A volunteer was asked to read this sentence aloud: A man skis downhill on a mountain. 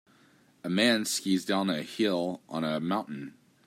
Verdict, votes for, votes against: rejected, 1, 2